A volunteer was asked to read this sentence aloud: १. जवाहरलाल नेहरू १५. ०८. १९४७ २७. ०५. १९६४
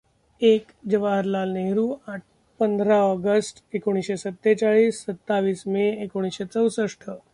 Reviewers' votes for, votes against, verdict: 0, 2, rejected